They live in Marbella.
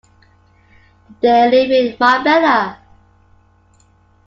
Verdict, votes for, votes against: accepted, 2, 0